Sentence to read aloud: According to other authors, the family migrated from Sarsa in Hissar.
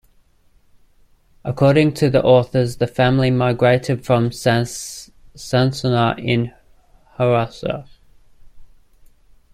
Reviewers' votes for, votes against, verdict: 0, 2, rejected